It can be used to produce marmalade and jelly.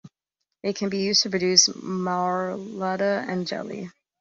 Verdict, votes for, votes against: rejected, 0, 2